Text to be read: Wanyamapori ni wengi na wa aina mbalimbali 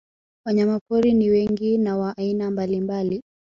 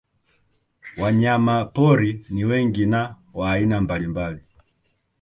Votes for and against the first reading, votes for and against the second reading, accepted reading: 4, 0, 0, 2, first